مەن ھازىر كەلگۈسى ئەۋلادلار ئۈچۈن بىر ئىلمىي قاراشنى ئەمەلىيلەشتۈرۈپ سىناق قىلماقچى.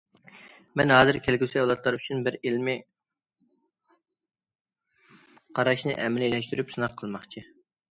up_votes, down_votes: 1, 2